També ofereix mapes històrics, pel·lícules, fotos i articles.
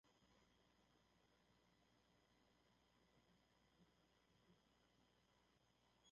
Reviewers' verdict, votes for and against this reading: rejected, 0, 3